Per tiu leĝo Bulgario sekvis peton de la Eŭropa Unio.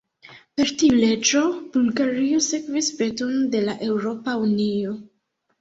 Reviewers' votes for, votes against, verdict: 2, 0, accepted